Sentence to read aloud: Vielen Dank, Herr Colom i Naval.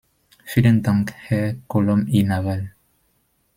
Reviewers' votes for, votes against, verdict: 2, 0, accepted